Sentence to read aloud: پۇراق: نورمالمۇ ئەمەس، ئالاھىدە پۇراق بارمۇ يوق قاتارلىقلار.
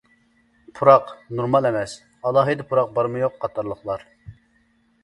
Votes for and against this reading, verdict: 0, 2, rejected